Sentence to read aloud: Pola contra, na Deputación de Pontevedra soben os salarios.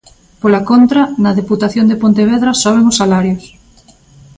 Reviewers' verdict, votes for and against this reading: accepted, 2, 0